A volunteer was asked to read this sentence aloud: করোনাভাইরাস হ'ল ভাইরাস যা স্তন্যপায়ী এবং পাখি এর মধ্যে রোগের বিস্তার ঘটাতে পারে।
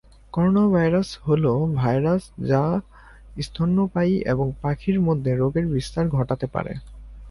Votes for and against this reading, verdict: 2, 0, accepted